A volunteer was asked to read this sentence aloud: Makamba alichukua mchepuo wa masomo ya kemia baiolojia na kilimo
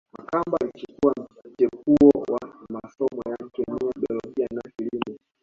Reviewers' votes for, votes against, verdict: 1, 2, rejected